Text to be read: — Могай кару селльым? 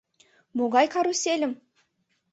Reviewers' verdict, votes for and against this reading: rejected, 1, 2